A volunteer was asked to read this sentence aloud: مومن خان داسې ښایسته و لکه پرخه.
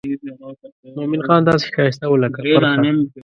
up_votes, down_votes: 0, 2